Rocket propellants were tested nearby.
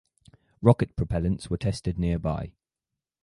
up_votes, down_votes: 4, 0